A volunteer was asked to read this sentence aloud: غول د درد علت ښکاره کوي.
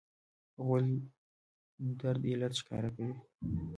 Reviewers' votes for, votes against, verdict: 1, 2, rejected